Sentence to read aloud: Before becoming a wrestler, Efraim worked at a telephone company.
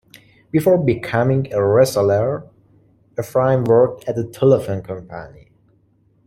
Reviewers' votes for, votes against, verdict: 2, 3, rejected